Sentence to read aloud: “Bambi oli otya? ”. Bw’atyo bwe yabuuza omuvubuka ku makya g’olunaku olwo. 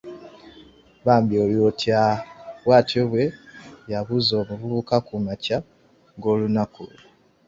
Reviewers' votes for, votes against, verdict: 1, 2, rejected